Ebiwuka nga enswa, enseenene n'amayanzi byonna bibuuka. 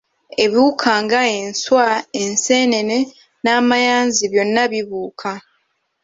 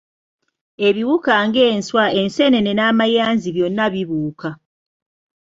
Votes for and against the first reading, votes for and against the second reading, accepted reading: 3, 0, 1, 2, first